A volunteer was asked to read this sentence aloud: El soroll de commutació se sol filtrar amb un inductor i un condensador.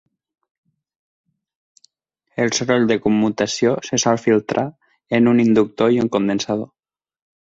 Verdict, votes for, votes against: rejected, 2, 4